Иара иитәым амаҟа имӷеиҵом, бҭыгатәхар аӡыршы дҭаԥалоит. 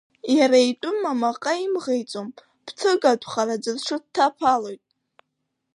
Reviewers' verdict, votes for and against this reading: rejected, 1, 2